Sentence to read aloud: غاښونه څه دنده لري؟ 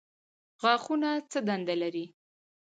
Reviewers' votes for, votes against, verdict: 4, 0, accepted